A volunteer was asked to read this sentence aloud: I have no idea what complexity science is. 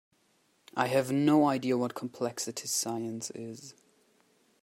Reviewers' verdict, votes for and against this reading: accepted, 2, 1